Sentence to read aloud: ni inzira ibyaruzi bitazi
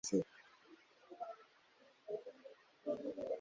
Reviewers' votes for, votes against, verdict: 2, 3, rejected